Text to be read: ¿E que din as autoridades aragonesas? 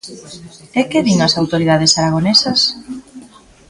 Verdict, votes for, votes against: accepted, 2, 0